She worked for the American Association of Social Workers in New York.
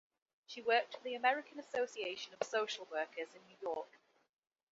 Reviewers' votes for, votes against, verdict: 2, 1, accepted